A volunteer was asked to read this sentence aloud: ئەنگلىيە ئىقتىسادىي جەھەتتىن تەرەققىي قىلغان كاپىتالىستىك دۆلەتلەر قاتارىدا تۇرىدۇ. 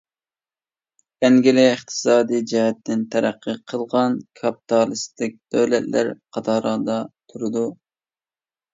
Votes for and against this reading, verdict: 1, 2, rejected